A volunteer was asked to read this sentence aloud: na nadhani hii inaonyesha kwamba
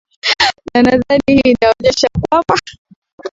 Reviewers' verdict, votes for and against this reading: accepted, 11, 4